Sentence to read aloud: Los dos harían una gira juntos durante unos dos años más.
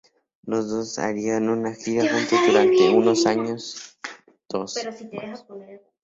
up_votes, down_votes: 0, 2